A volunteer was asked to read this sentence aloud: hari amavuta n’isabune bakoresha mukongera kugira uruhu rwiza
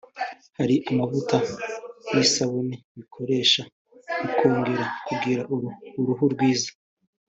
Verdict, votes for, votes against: rejected, 1, 2